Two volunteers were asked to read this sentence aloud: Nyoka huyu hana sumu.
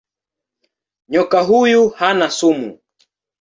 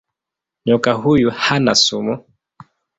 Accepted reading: first